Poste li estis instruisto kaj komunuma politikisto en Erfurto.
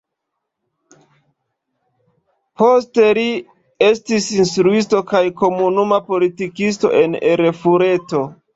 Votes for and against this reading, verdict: 0, 2, rejected